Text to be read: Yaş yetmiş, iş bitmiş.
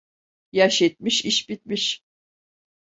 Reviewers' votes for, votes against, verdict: 2, 0, accepted